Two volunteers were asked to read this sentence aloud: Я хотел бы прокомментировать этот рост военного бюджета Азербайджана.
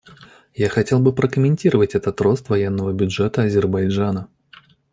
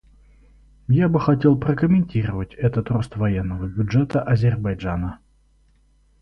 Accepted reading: first